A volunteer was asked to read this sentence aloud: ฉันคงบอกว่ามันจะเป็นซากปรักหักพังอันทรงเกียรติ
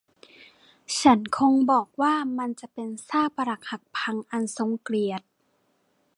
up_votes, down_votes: 1, 2